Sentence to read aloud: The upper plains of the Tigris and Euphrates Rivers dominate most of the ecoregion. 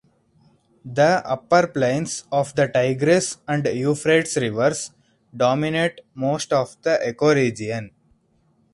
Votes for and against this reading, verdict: 2, 4, rejected